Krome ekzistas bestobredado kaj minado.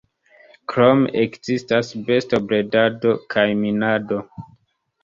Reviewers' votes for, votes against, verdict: 1, 2, rejected